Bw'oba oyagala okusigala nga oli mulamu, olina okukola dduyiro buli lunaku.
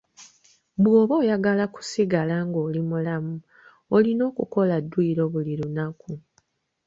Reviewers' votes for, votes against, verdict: 2, 0, accepted